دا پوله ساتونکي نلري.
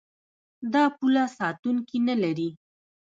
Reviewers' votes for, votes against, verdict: 0, 2, rejected